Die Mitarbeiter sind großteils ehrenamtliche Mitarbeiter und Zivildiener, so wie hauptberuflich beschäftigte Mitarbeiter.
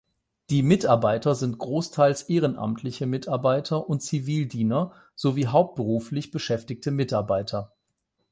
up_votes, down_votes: 8, 0